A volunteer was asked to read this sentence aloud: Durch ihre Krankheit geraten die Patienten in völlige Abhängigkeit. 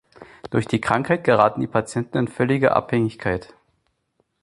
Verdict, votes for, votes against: rejected, 0, 2